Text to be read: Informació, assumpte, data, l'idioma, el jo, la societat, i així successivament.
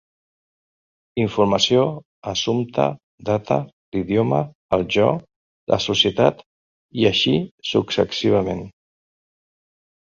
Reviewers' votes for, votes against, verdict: 2, 0, accepted